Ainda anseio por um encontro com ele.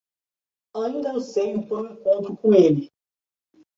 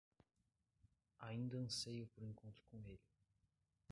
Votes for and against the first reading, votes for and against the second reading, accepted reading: 2, 1, 0, 2, first